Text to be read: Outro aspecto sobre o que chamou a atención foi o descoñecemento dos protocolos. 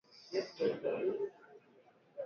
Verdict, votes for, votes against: rejected, 0, 2